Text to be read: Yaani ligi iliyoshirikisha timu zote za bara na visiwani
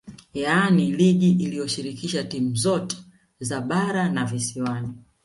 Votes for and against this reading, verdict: 2, 0, accepted